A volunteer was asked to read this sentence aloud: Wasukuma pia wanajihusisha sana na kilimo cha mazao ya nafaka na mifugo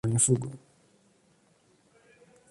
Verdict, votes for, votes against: rejected, 0, 2